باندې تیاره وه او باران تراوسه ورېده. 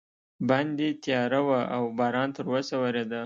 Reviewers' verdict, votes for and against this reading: accepted, 2, 0